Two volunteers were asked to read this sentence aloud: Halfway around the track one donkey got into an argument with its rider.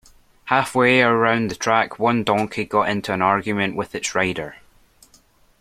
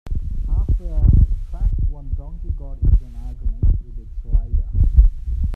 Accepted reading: first